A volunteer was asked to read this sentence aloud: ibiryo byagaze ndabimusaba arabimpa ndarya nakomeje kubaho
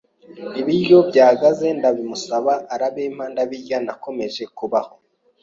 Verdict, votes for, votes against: rejected, 1, 2